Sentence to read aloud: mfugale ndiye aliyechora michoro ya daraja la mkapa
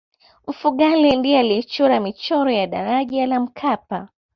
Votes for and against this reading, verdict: 2, 0, accepted